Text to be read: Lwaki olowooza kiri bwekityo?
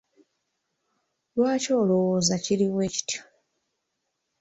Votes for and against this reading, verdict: 2, 0, accepted